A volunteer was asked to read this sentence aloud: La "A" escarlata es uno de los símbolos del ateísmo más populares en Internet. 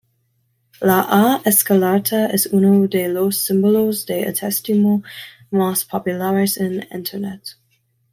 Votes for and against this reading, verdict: 1, 2, rejected